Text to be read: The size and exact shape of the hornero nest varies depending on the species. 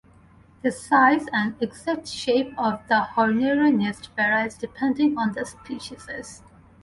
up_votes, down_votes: 0, 2